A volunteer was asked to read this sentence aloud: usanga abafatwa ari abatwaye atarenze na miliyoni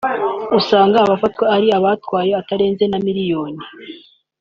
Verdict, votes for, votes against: accepted, 2, 1